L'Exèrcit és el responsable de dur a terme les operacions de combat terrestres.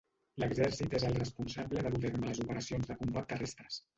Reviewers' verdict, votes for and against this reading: rejected, 0, 2